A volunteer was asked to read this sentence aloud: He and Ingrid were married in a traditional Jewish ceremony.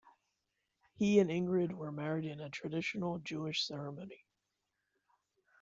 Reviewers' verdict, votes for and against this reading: accepted, 2, 1